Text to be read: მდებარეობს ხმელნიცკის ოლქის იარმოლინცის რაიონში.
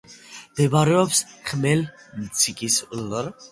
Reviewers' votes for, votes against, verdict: 0, 2, rejected